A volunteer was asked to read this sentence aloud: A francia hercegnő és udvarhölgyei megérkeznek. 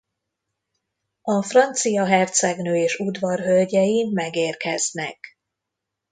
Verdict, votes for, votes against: accepted, 2, 0